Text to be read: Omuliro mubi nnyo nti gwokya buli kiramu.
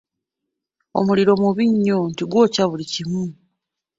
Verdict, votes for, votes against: accepted, 2, 0